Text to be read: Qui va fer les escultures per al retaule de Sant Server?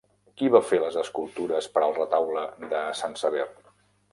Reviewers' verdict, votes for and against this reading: rejected, 1, 2